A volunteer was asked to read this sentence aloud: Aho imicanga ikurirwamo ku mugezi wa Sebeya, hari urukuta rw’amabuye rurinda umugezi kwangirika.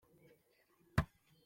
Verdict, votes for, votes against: rejected, 0, 2